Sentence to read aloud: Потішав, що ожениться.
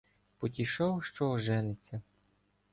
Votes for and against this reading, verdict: 2, 0, accepted